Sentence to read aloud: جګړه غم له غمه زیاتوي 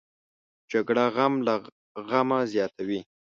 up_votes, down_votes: 3, 0